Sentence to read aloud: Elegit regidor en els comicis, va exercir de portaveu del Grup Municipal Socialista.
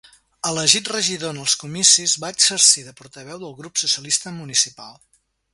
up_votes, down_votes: 0, 2